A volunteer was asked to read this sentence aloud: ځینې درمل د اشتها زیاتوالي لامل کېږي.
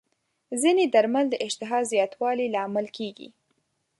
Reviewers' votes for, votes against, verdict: 5, 0, accepted